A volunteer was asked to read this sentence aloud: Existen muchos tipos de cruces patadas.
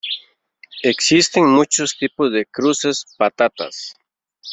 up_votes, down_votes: 0, 2